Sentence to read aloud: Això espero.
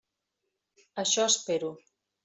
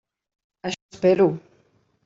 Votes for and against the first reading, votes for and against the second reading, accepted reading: 3, 0, 0, 2, first